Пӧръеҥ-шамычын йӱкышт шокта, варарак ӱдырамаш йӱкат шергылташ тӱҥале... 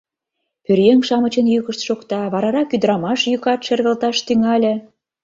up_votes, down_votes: 2, 0